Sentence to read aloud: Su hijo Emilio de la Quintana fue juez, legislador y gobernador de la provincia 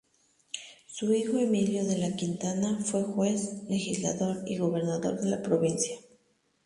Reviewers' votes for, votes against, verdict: 2, 0, accepted